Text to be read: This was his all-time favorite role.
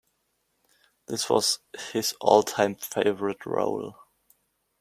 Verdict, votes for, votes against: accepted, 2, 0